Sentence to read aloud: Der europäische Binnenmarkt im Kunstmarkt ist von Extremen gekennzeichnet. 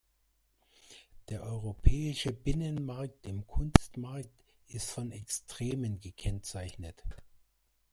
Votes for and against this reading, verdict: 1, 2, rejected